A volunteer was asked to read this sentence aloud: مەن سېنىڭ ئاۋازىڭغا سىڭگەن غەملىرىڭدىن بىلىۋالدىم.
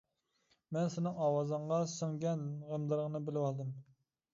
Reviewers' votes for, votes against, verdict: 0, 2, rejected